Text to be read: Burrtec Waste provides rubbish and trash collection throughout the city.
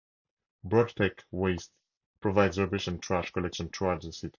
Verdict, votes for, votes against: rejected, 0, 4